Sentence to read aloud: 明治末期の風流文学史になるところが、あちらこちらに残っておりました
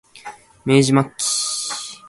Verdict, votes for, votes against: rejected, 0, 2